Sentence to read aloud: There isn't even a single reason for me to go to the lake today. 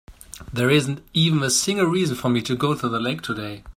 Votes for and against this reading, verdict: 2, 0, accepted